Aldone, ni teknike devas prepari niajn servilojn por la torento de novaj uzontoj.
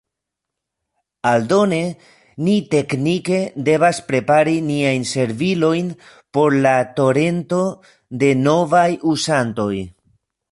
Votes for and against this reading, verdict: 0, 2, rejected